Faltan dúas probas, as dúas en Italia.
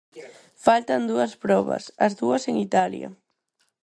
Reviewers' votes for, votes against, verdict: 4, 0, accepted